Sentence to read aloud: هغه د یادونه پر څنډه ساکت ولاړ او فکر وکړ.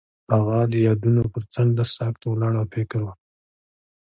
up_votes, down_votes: 2, 1